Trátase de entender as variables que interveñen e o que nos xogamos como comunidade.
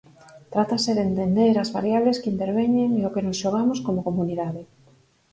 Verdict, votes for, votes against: rejected, 2, 2